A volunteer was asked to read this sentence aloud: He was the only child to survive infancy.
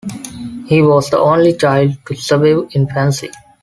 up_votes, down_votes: 0, 2